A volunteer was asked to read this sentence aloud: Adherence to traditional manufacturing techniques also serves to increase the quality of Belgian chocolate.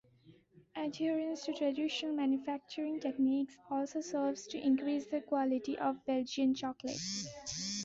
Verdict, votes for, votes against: accepted, 2, 0